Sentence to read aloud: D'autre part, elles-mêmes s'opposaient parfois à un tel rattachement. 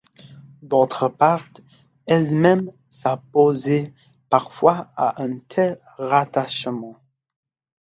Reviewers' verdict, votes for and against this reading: accepted, 2, 0